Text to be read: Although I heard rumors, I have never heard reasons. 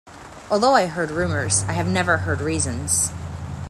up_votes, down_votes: 2, 0